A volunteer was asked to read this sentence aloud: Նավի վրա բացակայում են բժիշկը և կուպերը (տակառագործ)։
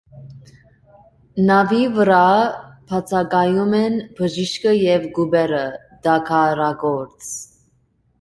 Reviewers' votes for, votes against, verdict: 2, 0, accepted